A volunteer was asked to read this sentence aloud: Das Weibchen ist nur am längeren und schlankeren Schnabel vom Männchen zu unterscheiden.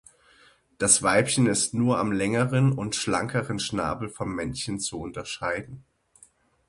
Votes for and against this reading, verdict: 6, 0, accepted